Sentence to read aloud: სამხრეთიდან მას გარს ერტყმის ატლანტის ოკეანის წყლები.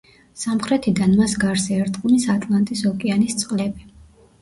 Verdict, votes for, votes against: accepted, 2, 0